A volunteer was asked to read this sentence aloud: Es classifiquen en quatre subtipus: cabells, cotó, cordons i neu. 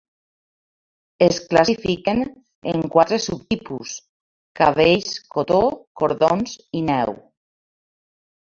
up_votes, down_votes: 2, 1